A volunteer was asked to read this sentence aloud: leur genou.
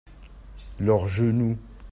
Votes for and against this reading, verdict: 2, 0, accepted